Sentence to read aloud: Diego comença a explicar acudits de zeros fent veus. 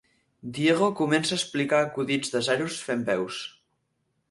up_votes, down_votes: 4, 0